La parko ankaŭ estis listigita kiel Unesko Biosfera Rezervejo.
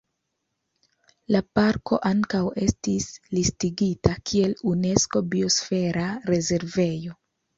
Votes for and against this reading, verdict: 2, 0, accepted